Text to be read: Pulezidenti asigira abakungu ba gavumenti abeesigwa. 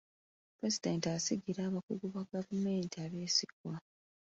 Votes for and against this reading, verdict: 2, 0, accepted